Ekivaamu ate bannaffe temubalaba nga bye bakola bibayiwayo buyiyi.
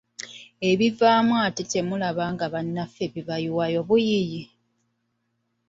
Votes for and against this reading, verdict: 1, 2, rejected